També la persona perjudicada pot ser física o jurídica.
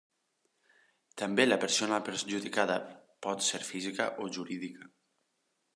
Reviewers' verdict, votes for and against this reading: accepted, 3, 1